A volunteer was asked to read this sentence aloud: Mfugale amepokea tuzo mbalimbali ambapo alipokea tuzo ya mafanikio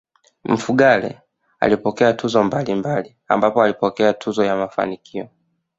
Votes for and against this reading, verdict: 1, 2, rejected